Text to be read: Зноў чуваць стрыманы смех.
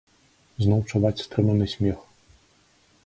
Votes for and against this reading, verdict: 2, 0, accepted